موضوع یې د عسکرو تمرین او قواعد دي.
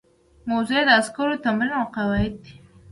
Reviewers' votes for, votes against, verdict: 1, 2, rejected